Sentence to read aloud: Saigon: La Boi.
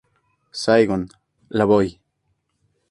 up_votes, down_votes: 2, 2